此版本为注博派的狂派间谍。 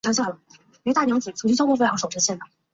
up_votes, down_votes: 0, 3